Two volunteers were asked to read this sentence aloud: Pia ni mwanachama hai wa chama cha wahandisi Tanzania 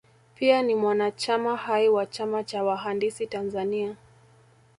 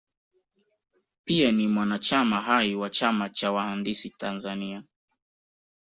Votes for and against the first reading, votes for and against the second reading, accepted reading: 2, 0, 0, 2, first